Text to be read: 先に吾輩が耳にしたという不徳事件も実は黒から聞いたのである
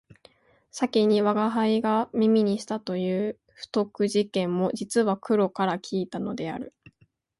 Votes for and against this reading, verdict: 2, 0, accepted